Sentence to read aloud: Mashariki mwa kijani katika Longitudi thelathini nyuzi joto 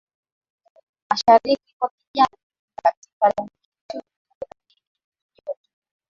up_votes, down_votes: 0, 3